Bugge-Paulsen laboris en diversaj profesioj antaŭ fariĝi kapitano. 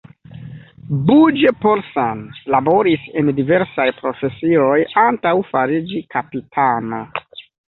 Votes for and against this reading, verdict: 2, 0, accepted